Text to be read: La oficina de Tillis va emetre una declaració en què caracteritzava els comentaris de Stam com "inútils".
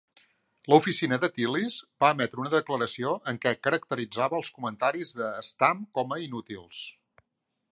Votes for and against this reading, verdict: 0, 2, rejected